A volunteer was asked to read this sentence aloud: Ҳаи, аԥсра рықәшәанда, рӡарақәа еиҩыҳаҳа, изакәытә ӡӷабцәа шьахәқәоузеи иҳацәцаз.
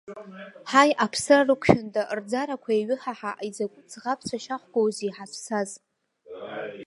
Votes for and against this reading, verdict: 1, 2, rejected